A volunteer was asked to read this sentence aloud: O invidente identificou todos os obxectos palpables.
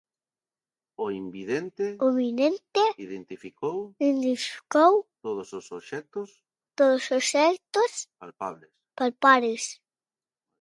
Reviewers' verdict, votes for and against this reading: rejected, 0, 2